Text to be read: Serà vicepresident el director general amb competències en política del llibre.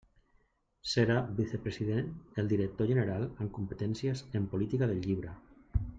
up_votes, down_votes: 0, 2